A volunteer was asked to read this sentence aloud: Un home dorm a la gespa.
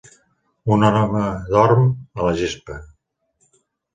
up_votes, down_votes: 0, 2